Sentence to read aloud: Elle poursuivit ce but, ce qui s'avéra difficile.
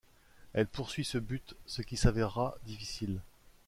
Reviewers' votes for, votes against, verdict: 1, 2, rejected